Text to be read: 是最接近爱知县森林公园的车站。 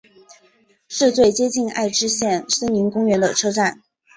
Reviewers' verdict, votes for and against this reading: accepted, 2, 0